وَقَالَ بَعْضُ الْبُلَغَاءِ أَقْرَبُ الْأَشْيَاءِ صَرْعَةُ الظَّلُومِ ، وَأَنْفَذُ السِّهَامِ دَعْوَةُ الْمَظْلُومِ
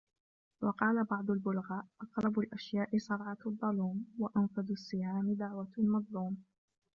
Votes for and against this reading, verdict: 1, 2, rejected